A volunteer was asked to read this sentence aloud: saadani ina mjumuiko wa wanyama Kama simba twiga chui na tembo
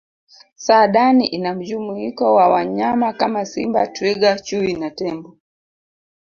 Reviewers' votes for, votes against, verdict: 5, 0, accepted